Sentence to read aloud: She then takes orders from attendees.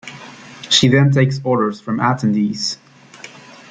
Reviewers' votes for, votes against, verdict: 2, 0, accepted